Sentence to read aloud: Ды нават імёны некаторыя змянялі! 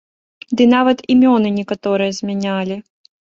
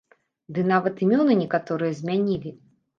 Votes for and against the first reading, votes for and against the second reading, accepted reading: 2, 0, 1, 2, first